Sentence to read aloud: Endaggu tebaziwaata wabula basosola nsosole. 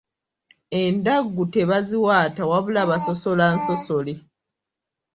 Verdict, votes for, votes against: accepted, 2, 1